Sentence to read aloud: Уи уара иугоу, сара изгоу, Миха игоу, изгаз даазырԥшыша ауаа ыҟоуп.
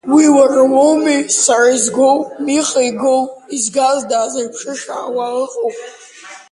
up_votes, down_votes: 0, 2